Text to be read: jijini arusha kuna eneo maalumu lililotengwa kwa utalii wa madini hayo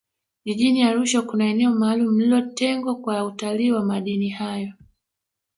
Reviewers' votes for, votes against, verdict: 1, 2, rejected